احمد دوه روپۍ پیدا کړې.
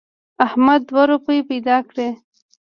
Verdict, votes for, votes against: rejected, 1, 2